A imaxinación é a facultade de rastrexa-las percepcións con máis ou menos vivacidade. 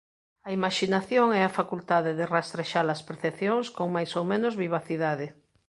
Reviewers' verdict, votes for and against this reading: accepted, 2, 0